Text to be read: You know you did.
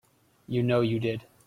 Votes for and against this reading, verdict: 2, 0, accepted